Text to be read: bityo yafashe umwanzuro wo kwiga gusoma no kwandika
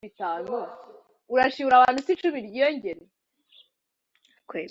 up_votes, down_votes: 0, 2